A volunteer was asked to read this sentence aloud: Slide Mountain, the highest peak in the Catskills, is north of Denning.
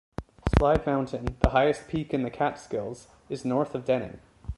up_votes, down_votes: 2, 0